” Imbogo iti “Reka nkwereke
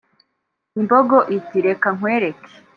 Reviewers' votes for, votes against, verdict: 2, 0, accepted